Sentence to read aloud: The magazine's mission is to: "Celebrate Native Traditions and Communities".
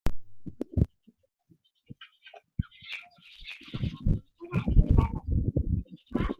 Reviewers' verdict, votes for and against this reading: rejected, 1, 2